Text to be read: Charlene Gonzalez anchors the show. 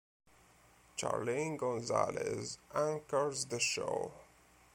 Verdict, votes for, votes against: rejected, 0, 2